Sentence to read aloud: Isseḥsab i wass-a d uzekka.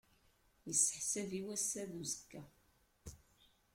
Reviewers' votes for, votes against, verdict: 1, 2, rejected